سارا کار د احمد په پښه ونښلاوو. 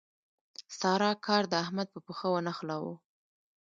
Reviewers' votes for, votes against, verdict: 1, 2, rejected